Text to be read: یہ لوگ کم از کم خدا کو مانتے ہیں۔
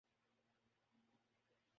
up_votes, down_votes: 0, 2